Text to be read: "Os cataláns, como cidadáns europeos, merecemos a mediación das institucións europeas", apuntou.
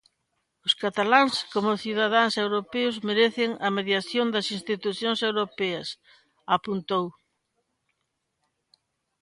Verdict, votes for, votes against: rejected, 0, 2